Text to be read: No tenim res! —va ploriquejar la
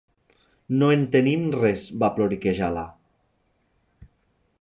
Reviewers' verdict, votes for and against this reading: rejected, 0, 2